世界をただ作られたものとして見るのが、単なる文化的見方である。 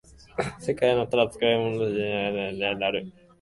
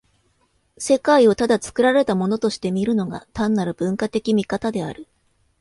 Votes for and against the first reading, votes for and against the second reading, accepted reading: 0, 2, 2, 0, second